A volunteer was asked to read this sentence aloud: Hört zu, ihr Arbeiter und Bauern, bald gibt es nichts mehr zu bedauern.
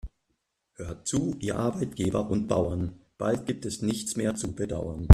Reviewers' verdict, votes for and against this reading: rejected, 0, 2